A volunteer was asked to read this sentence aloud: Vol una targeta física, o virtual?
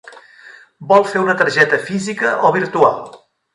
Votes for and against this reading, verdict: 0, 2, rejected